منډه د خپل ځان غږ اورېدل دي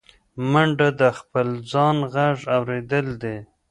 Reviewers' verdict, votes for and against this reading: rejected, 0, 2